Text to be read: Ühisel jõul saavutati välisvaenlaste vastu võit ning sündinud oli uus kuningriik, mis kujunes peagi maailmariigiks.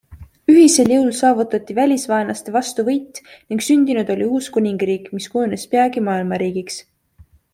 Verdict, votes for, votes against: accepted, 2, 0